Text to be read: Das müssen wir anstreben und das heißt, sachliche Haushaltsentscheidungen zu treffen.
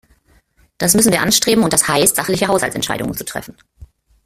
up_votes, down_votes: 2, 1